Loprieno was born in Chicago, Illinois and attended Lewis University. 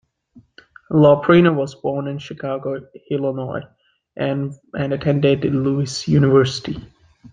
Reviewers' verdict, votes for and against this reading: accepted, 2, 1